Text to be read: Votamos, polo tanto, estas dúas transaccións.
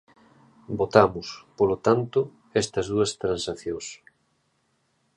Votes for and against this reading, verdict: 2, 0, accepted